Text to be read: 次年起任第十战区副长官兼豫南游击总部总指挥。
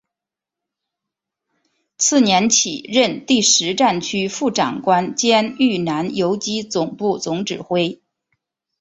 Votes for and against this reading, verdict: 2, 1, accepted